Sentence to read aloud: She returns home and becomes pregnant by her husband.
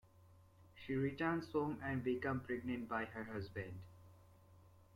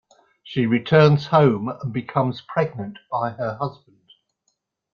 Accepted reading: second